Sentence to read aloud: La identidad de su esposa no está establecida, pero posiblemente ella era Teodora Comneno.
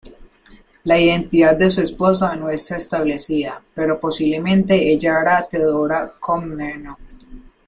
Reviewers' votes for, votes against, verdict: 0, 2, rejected